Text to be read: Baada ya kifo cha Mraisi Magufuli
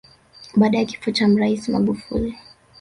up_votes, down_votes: 1, 2